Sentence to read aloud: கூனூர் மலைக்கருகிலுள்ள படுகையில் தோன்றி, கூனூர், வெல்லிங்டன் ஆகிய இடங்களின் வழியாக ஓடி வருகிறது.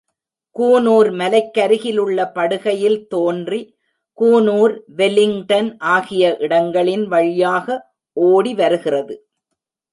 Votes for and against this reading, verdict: 2, 0, accepted